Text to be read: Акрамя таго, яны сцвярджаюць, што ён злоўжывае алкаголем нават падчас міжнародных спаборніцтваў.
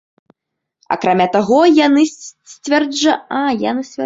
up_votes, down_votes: 0, 2